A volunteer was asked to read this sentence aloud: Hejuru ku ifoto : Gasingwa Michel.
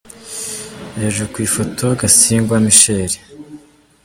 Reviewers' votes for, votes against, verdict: 2, 1, accepted